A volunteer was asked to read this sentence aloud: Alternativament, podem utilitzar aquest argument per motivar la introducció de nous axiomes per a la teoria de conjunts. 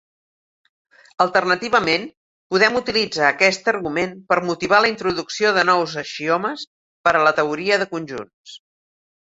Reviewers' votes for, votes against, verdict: 2, 1, accepted